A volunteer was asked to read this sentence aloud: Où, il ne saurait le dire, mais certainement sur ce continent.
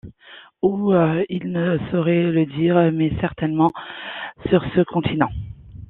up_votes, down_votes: 2, 0